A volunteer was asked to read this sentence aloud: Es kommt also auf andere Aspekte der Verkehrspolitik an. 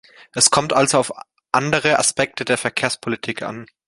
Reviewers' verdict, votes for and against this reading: accepted, 2, 0